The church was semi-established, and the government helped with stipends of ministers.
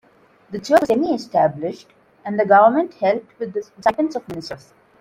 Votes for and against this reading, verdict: 0, 2, rejected